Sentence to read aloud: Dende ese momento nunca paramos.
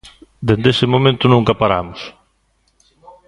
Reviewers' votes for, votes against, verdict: 1, 2, rejected